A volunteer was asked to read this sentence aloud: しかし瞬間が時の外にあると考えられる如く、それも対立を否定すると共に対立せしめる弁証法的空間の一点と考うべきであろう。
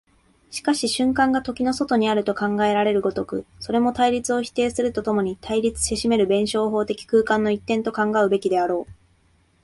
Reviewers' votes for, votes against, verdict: 2, 0, accepted